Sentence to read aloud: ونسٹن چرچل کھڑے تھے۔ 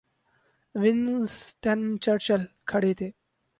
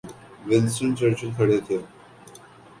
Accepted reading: second